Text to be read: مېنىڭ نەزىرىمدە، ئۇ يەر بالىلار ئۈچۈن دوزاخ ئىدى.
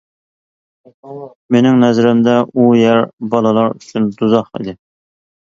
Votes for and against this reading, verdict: 1, 2, rejected